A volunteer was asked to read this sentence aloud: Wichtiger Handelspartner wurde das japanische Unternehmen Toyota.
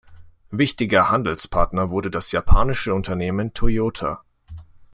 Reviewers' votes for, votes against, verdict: 2, 0, accepted